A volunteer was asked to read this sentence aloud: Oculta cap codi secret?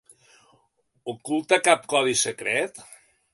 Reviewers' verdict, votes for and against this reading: accepted, 2, 0